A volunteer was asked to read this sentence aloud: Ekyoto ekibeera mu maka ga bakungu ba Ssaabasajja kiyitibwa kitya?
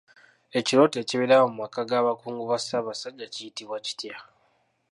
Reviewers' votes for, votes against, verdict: 2, 1, accepted